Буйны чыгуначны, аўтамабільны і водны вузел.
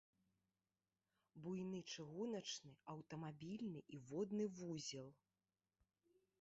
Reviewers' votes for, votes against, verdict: 3, 0, accepted